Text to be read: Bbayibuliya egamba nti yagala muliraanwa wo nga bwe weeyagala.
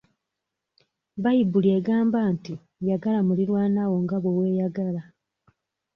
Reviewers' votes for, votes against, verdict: 1, 2, rejected